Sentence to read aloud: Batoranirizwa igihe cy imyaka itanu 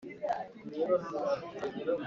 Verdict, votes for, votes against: rejected, 1, 2